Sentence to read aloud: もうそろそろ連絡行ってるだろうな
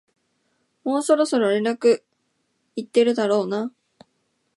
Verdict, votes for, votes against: accepted, 2, 0